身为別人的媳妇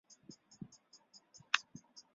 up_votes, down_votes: 0, 3